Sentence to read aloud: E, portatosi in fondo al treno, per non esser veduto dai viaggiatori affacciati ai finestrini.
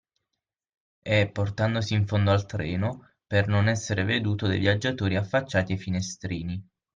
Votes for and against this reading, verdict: 3, 6, rejected